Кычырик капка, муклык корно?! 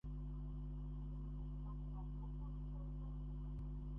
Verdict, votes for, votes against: rejected, 0, 2